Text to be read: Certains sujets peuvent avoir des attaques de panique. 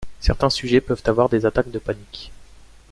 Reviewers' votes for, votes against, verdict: 2, 0, accepted